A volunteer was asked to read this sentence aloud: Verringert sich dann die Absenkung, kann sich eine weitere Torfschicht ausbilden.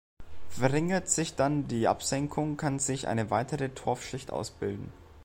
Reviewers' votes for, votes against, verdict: 2, 0, accepted